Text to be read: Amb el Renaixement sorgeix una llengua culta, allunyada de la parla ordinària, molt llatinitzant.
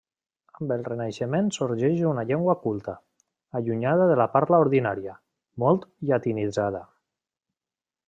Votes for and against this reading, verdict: 0, 2, rejected